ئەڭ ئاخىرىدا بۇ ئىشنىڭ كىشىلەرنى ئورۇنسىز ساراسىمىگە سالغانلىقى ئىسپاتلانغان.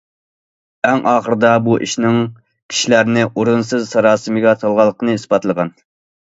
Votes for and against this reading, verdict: 0, 2, rejected